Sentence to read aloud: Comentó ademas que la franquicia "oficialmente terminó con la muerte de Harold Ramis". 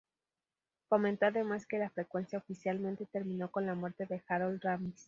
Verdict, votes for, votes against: rejected, 0, 2